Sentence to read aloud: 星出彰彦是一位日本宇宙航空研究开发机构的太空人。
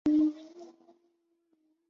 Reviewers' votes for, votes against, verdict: 0, 5, rejected